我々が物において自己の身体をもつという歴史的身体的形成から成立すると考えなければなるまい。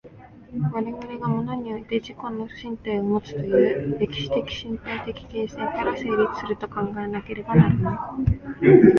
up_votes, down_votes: 0, 2